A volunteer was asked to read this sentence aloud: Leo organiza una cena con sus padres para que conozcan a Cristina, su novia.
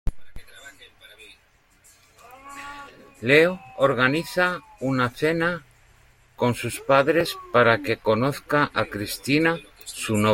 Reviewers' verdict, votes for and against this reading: rejected, 0, 2